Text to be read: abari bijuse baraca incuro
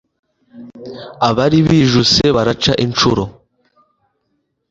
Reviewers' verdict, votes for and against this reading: accepted, 2, 0